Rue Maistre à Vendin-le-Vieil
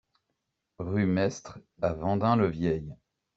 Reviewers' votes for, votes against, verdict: 2, 0, accepted